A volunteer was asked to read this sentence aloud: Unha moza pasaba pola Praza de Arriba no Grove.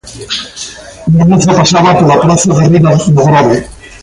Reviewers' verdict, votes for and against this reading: rejected, 0, 2